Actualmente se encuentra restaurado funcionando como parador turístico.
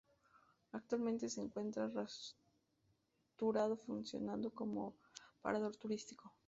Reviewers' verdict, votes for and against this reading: rejected, 0, 4